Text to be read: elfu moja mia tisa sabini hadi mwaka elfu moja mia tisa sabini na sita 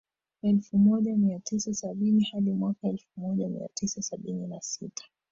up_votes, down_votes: 1, 2